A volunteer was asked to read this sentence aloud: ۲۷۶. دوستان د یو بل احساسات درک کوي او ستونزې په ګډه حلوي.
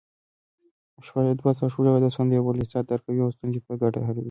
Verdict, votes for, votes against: rejected, 0, 2